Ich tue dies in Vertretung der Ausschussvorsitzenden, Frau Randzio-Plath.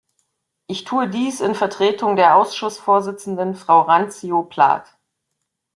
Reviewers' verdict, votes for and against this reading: accepted, 2, 0